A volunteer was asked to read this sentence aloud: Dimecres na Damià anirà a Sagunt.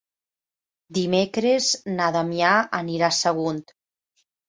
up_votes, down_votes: 4, 0